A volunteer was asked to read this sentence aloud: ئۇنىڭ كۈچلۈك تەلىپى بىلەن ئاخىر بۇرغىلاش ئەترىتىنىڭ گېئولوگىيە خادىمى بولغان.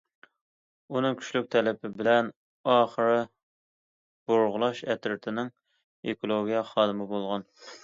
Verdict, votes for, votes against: accepted, 2, 1